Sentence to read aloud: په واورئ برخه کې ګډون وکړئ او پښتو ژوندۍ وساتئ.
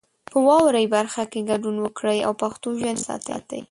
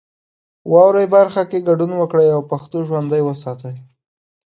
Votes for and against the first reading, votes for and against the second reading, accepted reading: 1, 2, 2, 0, second